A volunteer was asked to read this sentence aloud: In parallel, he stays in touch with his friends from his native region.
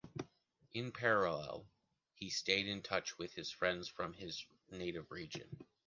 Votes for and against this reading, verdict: 1, 3, rejected